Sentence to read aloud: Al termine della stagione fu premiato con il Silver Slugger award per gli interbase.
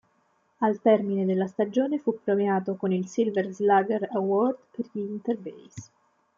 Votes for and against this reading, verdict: 1, 2, rejected